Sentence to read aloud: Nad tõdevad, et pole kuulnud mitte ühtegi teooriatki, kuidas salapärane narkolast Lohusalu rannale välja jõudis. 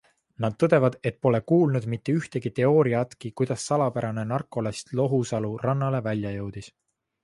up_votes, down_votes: 2, 3